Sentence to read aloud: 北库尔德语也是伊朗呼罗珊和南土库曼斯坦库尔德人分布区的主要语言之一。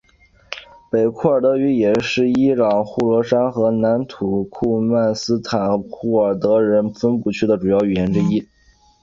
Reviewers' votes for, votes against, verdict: 3, 0, accepted